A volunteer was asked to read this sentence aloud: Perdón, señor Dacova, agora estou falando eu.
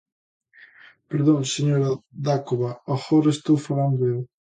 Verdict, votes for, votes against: rejected, 0, 2